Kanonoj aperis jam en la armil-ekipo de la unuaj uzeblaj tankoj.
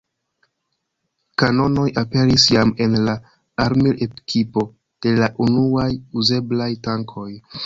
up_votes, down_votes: 1, 2